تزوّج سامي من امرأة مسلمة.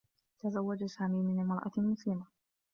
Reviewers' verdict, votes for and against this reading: accepted, 2, 0